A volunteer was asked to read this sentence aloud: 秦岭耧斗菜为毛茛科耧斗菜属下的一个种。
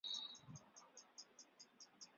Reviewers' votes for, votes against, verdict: 2, 6, rejected